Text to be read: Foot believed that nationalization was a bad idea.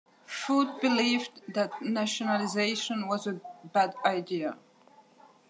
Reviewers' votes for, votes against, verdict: 2, 0, accepted